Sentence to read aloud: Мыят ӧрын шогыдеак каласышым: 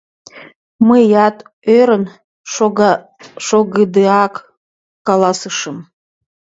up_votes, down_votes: 2, 1